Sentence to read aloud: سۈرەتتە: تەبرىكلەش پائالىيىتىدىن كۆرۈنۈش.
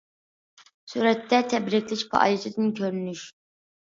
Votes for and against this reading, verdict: 2, 0, accepted